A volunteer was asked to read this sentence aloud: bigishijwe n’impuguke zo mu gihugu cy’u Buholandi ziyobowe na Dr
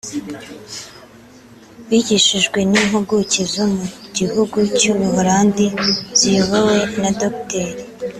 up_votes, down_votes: 2, 0